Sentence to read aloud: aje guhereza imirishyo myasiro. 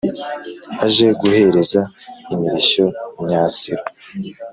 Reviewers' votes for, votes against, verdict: 2, 0, accepted